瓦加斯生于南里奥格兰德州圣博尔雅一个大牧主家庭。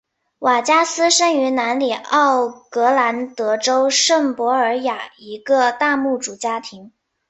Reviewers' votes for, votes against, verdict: 2, 0, accepted